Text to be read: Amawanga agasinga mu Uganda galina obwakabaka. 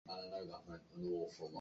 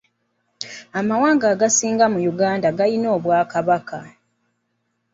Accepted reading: second